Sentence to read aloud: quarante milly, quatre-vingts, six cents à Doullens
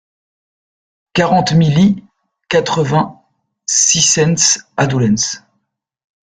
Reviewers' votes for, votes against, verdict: 0, 2, rejected